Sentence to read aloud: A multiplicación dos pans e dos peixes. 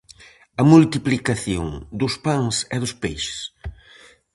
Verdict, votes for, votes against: accepted, 4, 0